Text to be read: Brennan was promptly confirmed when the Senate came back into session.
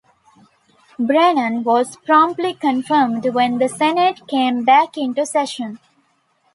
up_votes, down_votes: 2, 0